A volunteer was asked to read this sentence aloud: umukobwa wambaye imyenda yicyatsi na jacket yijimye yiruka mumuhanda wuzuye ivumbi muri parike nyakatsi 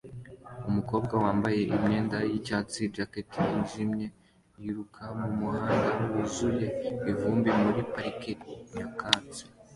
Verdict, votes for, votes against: rejected, 1, 2